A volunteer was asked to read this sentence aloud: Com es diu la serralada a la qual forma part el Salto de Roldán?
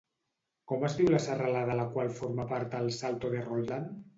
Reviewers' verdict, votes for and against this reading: rejected, 0, 2